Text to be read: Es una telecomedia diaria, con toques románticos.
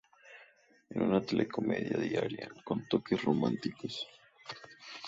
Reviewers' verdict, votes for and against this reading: accepted, 4, 0